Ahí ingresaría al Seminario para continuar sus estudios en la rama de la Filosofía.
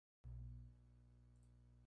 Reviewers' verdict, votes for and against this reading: accepted, 2, 0